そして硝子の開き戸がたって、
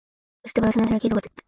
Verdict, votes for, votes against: rejected, 0, 3